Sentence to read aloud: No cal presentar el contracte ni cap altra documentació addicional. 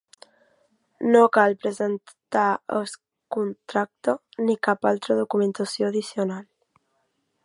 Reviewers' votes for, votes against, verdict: 0, 2, rejected